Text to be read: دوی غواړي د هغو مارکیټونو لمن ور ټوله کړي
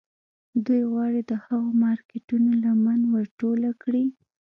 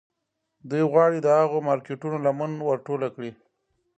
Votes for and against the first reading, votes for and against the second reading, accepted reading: 2, 1, 0, 2, first